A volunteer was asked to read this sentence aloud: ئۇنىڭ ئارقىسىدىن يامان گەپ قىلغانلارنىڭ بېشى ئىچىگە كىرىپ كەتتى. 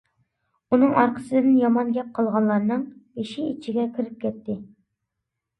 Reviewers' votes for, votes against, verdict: 2, 0, accepted